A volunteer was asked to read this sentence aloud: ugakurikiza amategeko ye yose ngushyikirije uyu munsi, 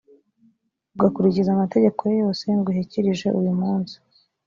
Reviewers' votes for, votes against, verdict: 2, 0, accepted